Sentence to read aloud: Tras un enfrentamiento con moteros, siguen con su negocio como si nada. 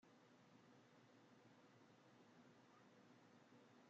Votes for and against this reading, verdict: 0, 2, rejected